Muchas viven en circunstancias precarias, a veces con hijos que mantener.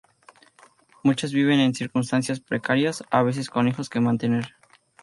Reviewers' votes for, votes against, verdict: 2, 0, accepted